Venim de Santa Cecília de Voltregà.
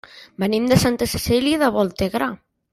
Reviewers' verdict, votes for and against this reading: rejected, 1, 2